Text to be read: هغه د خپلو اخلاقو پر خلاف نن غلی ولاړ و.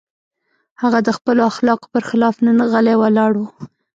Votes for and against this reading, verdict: 2, 0, accepted